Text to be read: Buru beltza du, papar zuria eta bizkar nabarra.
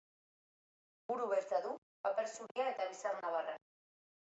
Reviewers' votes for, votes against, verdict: 0, 2, rejected